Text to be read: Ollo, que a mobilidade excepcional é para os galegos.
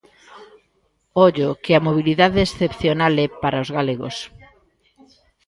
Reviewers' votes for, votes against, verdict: 1, 2, rejected